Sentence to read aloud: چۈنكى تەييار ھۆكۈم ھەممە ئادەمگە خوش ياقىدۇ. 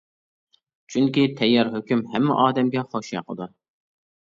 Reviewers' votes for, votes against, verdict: 2, 0, accepted